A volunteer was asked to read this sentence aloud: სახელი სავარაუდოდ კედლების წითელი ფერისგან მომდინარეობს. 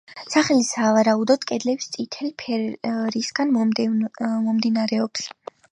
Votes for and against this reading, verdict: 0, 2, rejected